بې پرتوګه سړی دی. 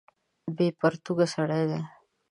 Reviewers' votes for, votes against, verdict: 2, 0, accepted